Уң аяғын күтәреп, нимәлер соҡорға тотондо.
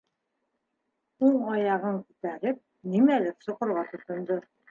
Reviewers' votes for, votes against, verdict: 2, 0, accepted